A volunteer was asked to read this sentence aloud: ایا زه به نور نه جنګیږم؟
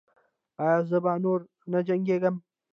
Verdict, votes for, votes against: rejected, 0, 2